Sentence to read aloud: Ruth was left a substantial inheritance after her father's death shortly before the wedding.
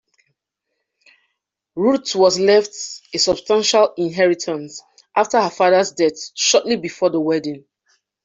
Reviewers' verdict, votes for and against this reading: rejected, 0, 2